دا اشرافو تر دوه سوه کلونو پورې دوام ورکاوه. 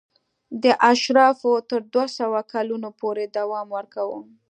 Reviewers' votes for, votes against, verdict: 2, 1, accepted